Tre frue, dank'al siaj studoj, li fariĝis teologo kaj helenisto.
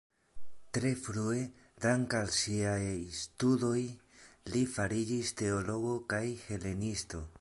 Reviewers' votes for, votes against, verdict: 2, 0, accepted